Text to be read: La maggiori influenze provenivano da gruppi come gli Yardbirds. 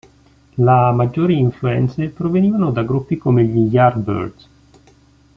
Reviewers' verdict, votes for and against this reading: accepted, 2, 0